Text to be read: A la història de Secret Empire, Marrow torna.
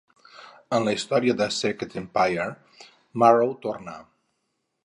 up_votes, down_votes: 2, 2